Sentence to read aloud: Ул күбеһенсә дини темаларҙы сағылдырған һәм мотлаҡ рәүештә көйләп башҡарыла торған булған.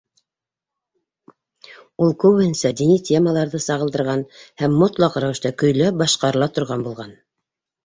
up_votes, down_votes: 2, 0